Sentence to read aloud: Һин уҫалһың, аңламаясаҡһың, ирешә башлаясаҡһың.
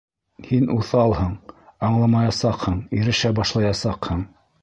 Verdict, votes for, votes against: accepted, 2, 0